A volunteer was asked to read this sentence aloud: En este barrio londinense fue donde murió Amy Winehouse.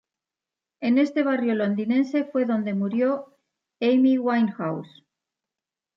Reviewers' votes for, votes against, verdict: 2, 0, accepted